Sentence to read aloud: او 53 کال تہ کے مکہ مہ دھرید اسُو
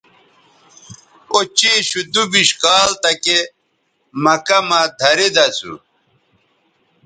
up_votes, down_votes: 0, 2